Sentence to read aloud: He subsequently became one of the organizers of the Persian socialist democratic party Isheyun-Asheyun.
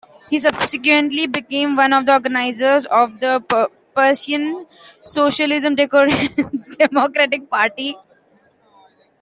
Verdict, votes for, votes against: rejected, 0, 2